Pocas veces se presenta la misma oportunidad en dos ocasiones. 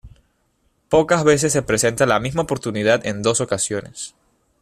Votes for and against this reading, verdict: 1, 2, rejected